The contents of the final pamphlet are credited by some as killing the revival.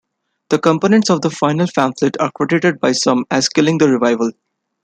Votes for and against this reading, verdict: 1, 2, rejected